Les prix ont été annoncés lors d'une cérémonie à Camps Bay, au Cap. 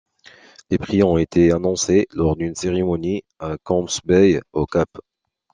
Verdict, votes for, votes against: accepted, 2, 0